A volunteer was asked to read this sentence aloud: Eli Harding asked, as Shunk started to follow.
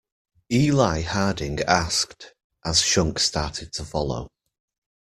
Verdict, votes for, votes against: accepted, 2, 0